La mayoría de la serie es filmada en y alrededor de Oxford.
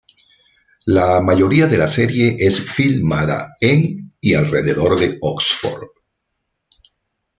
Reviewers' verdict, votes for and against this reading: accepted, 2, 0